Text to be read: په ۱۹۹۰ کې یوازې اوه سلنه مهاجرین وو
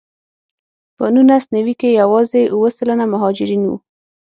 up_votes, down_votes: 0, 2